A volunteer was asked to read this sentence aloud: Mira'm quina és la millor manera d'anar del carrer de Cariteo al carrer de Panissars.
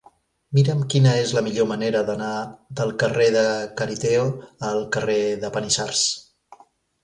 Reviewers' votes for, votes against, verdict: 2, 0, accepted